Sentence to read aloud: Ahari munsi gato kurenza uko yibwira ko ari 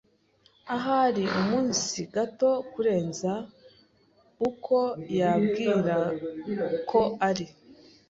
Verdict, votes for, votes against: rejected, 1, 2